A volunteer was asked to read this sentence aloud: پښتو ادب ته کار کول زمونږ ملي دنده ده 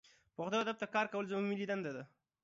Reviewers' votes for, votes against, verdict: 2, 0, accepted